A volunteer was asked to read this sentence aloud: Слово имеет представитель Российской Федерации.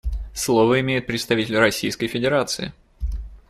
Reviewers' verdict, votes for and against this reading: accepted, 2, 0